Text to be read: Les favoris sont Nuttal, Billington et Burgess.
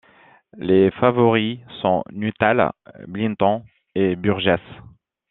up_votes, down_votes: 1, 2